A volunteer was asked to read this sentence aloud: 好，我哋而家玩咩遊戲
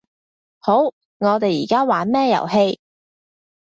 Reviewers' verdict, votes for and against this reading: accepted, 2, 0